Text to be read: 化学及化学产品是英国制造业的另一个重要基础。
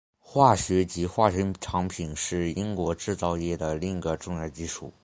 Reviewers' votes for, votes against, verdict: 2, 1, accepted